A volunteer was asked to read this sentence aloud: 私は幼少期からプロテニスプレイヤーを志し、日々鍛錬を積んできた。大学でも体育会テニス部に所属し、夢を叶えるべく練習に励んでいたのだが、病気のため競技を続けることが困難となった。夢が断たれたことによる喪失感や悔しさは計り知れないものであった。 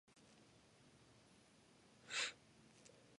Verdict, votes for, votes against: rejected, 0, 2